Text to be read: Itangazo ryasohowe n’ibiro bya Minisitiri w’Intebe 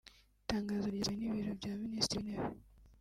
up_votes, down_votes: 1, 2